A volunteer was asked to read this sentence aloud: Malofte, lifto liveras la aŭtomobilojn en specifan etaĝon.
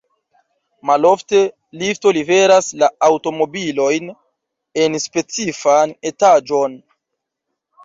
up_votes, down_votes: 1, 2